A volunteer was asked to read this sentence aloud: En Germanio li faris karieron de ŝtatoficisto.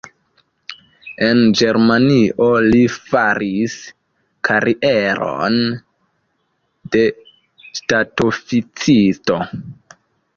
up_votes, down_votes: 1, 2